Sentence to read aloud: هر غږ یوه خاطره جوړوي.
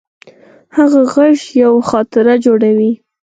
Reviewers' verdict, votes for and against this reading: rejected, 2, 4